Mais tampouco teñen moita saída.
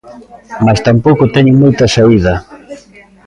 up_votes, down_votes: 1, 2